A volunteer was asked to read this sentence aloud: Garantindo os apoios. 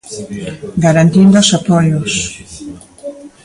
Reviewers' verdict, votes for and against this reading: rejected, 1, 2